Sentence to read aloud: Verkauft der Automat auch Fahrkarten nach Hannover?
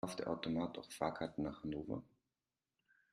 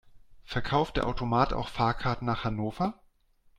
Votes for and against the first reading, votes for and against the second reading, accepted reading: 1, 2, 2, 0, second